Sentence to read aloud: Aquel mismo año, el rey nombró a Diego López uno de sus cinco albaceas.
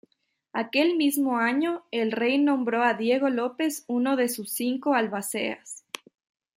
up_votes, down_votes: 2, 0